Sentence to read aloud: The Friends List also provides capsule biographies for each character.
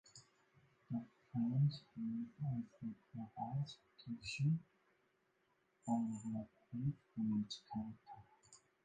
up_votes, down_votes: 0, 2